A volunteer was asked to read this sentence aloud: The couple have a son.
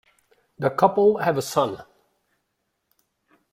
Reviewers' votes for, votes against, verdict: 2, 0, accepted